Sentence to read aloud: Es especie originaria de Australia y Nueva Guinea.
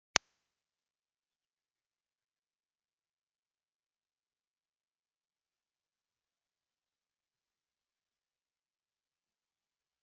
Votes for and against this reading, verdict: 0, 2, rejected